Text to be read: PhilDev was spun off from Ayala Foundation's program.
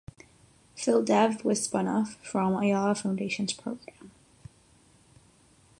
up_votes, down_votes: 3, 3